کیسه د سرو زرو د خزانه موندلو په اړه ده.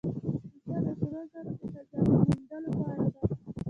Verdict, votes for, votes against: accepted, 2, 1